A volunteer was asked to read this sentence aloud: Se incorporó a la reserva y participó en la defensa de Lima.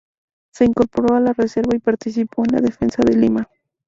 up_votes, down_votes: 2, 0